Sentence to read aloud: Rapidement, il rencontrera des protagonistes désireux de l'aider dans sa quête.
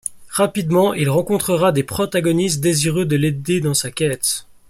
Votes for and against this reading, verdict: 2, 0, accepted